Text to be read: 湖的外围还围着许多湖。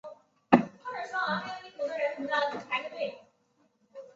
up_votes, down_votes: 2, 1